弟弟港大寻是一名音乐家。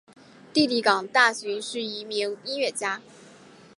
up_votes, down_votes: 0, 2